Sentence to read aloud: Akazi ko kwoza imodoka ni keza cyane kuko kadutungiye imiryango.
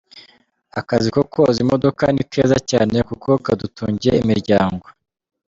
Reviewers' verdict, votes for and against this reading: accepted, 2, 0